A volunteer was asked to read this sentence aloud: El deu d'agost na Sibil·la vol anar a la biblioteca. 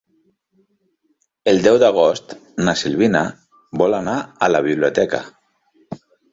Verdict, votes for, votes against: rejected, 0, 2